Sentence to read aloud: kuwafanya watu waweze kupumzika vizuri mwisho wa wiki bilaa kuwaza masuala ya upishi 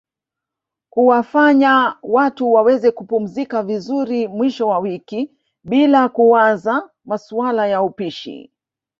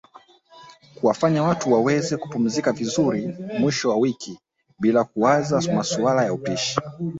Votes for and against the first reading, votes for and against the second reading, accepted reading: 1, 2, 4, 2, second